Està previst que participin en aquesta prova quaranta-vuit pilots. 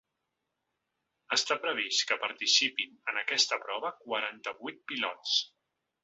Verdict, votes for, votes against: accepted, 2, 0